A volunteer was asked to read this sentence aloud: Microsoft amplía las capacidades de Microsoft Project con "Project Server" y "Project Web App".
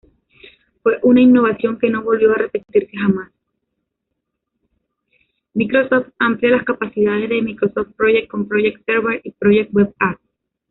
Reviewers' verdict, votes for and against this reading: rejected, 0, 2